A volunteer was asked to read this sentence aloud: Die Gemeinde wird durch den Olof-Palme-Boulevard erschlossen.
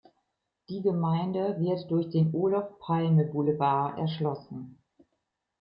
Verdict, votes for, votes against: accepted, 2, 0